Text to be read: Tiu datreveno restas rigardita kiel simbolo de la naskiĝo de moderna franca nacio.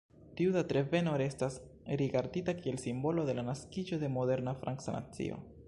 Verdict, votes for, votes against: accepted, 2, 1